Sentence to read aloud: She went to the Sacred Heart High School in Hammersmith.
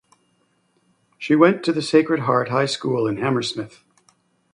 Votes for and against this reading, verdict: 2, 0, accepted